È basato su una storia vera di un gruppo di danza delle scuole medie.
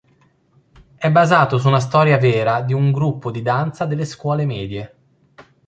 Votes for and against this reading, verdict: 2, 0, accepted